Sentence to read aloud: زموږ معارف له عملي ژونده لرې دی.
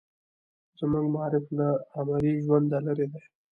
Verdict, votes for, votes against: accepted, 2, 0